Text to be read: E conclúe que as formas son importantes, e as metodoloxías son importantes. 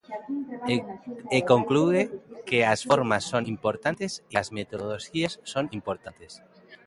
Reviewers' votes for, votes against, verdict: 0, 2, rejected